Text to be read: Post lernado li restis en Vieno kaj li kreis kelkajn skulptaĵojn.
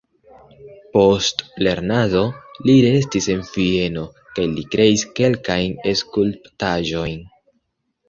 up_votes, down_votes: 2, 1